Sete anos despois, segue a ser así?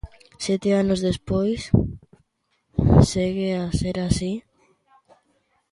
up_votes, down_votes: 2, 1